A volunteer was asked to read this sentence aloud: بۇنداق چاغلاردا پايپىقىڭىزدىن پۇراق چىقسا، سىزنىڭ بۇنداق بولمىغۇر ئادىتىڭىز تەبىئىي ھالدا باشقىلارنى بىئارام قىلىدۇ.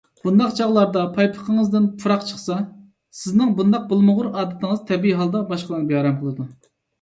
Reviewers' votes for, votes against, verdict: 2, 0, accepted